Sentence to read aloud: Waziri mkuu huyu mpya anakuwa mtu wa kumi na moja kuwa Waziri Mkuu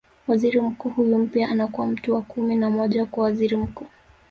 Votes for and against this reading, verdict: 2, 1, accepted